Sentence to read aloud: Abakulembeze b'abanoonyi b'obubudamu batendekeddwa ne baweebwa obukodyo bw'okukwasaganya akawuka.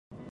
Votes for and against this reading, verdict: 0, 2, rejected